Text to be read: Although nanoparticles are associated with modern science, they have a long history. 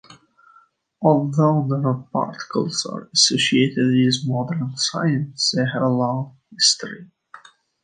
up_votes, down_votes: 1, 2